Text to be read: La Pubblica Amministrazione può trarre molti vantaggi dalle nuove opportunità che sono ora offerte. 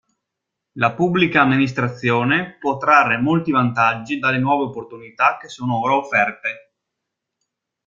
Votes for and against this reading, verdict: 2, 0, accepted